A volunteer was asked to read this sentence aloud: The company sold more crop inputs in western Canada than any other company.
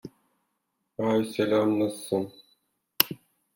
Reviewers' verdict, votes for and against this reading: rejected, 0, 2